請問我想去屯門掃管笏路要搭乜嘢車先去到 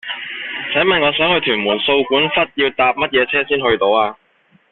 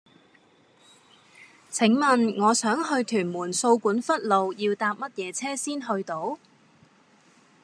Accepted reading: second